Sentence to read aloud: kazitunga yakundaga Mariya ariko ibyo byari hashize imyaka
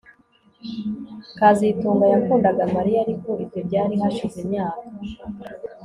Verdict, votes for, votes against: accepted, 2, 0